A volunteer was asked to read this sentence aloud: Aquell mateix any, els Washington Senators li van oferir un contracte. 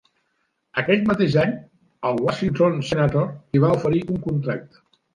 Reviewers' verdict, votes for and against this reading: rejected, 0, 2